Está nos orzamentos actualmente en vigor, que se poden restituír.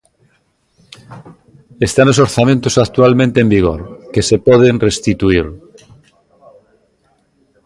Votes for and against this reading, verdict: 0, 2, rejected